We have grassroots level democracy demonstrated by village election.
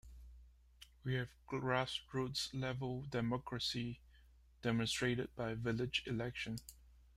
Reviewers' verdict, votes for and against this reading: rejected, 0, 2